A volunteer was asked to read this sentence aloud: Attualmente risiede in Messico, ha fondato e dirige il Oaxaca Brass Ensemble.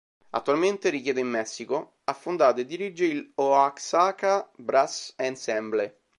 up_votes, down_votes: 0, 2